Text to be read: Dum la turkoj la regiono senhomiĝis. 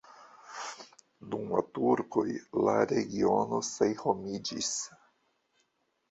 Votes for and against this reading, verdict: 0, 2, rejected